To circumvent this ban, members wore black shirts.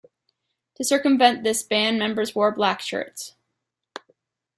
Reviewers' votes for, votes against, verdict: 2, 0, accepted